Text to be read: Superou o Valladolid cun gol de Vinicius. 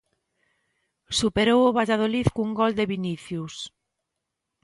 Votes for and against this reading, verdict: 2, 0, accepted